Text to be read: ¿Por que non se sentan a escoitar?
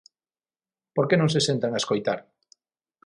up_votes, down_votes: 6, 0